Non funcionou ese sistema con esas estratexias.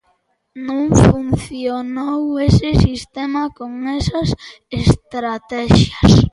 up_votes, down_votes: 2, 0